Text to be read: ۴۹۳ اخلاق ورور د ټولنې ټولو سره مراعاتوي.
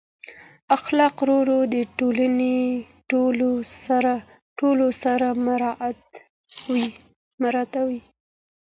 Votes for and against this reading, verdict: 0, 2, rejected